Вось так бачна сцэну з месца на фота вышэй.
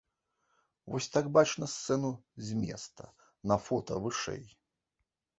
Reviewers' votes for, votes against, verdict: 1, 2, rejected